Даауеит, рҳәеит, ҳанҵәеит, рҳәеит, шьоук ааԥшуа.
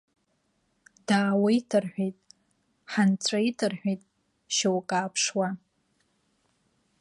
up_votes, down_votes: 3, 2